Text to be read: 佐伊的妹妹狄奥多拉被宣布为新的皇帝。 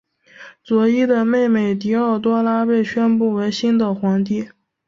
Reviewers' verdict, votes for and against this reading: accepted, 7, 2